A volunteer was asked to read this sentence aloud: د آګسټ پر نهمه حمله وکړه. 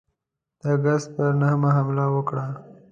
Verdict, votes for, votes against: accepted, 2, 0